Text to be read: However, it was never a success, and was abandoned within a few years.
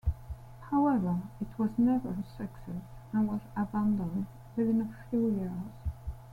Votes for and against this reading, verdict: 1, 2, rejected